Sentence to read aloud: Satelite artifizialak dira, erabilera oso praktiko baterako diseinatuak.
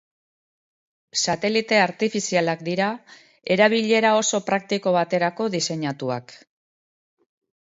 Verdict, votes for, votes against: accepted, 4, 0